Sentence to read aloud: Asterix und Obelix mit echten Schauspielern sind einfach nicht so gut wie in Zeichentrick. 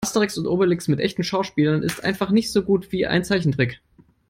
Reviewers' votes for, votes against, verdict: 0, 3, rejected